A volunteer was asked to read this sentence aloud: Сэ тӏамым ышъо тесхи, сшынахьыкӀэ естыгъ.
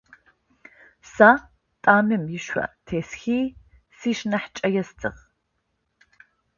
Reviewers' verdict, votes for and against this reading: accepted, 2, 0